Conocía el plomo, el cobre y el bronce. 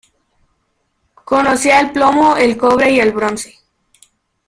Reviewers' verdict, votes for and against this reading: accepted, 2, 1